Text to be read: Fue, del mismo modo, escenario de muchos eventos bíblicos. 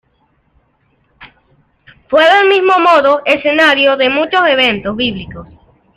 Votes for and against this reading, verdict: 0, 2, rejected